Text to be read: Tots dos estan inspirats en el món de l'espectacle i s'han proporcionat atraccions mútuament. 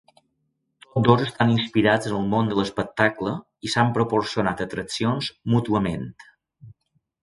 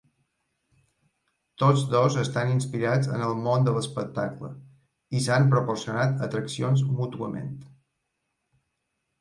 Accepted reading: second